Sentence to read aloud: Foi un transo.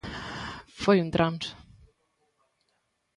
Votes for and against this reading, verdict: 2, 0, accepted